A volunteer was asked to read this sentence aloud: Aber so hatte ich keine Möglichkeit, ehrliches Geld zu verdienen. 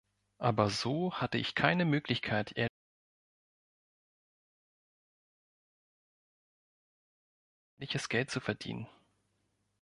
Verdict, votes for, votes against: rejected, 1, 2